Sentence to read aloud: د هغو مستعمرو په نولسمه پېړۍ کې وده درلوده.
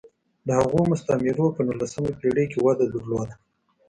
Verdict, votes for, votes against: accepted, 2, 0